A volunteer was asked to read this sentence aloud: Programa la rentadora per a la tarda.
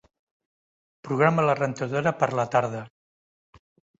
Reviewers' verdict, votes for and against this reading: rejected, 1, 2